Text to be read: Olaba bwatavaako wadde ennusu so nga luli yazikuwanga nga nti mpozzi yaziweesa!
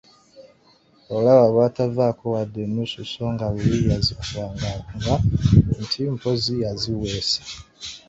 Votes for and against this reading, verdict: 0, 3, rejected